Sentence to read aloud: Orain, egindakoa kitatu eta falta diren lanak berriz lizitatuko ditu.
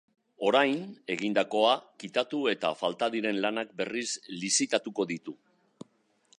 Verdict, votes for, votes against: accepted, 2, 0